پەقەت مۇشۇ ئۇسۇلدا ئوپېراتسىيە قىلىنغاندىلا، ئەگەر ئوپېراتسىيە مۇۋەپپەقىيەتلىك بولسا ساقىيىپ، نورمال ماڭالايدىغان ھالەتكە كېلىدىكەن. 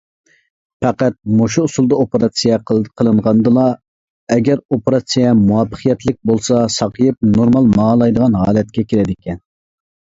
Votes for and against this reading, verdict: 1, 2, rejected